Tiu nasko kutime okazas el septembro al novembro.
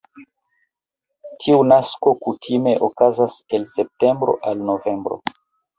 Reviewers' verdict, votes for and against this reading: rejected, 0, 2